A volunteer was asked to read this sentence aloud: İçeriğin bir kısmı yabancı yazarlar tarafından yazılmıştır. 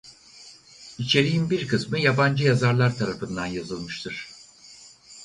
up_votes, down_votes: 4, 0